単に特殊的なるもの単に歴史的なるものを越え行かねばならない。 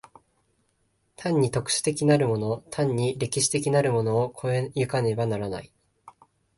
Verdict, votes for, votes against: accepted, 2, 0